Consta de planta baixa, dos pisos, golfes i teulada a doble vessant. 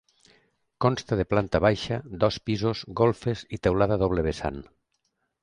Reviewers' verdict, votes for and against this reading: accepted, 2, 0